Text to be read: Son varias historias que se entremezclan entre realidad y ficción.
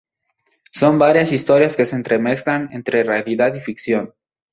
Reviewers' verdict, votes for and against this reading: accepted, 2, 0